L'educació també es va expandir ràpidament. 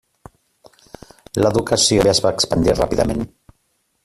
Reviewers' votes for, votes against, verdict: 0, 2, rejected